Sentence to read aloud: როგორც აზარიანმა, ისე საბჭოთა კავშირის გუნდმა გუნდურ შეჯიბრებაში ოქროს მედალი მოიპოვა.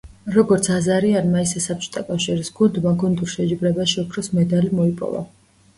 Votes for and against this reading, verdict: 2, 0, accepted